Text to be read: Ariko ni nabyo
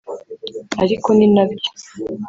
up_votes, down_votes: 1, 2